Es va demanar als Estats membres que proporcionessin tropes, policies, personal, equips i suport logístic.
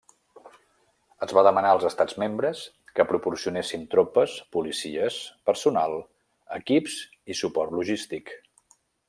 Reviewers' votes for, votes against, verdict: 3, 0, accepted